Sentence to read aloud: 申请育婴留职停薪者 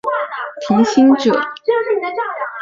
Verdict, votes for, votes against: rejected, 0, 4